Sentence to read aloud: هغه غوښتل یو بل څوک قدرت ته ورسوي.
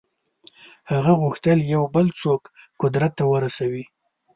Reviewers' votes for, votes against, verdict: 3, 0, accepted